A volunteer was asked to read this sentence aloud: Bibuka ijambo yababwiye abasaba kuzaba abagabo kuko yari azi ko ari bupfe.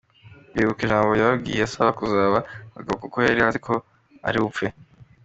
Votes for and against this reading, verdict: 2, 0, accepted